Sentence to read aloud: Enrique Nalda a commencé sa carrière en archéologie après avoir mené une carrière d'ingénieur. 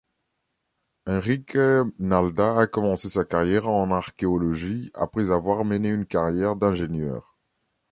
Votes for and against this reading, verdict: 2, 1, accepted